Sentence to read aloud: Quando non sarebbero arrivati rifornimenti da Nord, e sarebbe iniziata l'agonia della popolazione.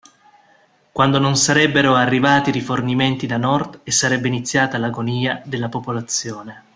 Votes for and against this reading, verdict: 2, 0, accepted